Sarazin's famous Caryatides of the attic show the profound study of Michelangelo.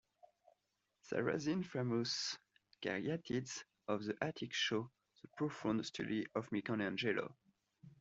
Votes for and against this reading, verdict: 2, 1, accepted